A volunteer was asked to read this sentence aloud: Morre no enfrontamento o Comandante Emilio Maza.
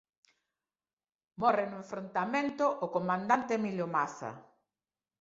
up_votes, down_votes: 2, 0